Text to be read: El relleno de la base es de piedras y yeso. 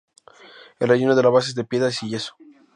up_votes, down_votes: 2, 0